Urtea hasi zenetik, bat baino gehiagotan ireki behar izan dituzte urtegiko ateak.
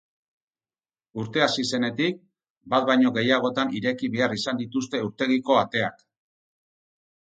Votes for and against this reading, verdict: 4, 0, accepted